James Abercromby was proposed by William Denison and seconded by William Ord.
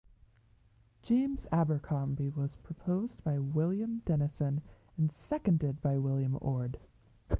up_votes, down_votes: 1, 2